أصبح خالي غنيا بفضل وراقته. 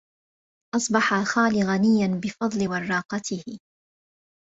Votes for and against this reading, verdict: 1, 2, rejected